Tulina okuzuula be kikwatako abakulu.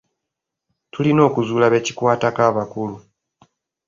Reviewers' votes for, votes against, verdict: 2, 0, accepted